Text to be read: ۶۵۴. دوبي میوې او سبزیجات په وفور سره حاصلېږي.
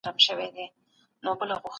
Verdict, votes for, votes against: rejected, 0, 2